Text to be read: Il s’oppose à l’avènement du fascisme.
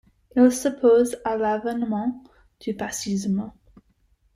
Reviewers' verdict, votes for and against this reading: rejected, 1, 2